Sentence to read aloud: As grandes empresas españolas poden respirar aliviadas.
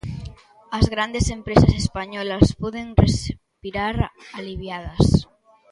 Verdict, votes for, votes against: rejected, 1, 2